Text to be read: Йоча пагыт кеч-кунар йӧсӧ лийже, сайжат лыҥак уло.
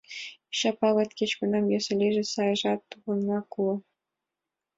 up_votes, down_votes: 2, 1